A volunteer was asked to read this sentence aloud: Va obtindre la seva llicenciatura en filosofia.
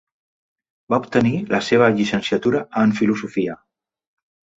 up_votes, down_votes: 0, 2